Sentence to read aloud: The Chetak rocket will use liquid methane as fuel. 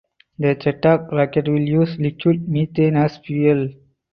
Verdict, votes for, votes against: accepted, 4, 0